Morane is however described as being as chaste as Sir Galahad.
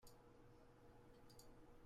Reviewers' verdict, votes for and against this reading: rejected, 0, 2